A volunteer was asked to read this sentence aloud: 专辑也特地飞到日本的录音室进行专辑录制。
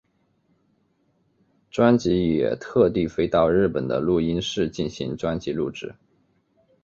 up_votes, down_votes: 4, 0